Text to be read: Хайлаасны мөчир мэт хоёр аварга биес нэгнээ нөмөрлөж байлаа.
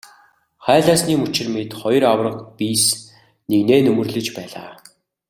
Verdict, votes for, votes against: accepted, 2, 0